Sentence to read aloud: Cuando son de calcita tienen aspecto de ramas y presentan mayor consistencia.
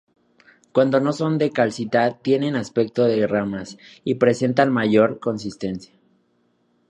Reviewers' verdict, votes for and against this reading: rejected, 0, 2